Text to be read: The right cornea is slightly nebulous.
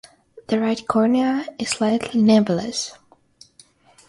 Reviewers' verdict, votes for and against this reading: rejected, 0, 3